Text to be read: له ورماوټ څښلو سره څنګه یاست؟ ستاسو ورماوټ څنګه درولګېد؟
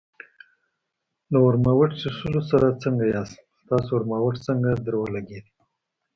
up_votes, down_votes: 0, 2